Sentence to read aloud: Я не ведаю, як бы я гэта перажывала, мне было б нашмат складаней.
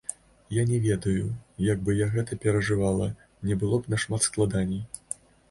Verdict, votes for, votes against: accepted, 2, 0